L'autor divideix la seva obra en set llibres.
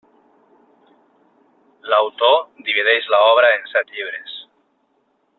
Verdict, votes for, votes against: rejected, 1, 2